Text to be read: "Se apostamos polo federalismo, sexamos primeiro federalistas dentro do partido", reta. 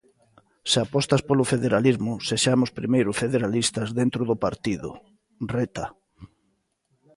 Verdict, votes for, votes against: rejected, 0, 2